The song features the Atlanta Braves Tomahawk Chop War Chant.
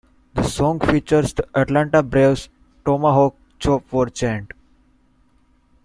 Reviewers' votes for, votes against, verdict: 2, 0, accepted